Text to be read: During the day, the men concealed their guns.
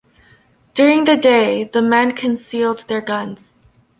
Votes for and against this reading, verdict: 0, 2, rejected